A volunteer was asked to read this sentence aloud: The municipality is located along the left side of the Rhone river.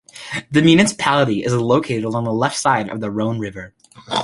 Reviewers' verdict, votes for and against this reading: accepted, 2, 0